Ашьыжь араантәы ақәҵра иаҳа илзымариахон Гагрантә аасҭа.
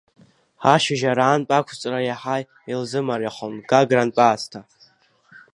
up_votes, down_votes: 2, 0